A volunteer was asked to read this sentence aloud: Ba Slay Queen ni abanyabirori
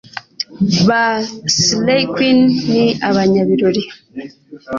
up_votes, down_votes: 2, 0